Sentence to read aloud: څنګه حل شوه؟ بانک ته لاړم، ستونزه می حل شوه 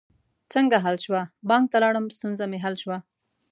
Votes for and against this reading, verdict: 2, 0, accepted